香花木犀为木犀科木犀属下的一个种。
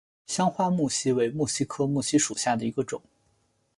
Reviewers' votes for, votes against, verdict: 2, 0, accepted